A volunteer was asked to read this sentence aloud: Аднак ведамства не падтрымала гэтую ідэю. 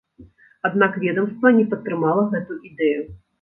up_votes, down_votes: 1, 2